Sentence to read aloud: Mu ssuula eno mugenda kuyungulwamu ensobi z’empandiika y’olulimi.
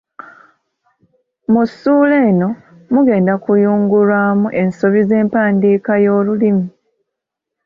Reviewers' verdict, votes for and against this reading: accepted, 2, 1